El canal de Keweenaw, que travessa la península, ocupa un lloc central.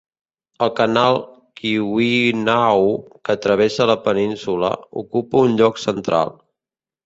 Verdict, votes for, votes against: rejected, 0, 2